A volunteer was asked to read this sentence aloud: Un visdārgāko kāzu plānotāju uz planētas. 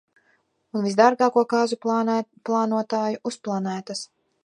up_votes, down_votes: 0, 2